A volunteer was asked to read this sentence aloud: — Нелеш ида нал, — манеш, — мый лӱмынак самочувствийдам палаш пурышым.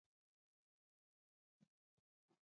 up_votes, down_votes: 0, 2